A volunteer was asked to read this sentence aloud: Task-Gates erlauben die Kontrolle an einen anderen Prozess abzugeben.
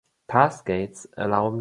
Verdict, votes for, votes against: rejected, 0, 2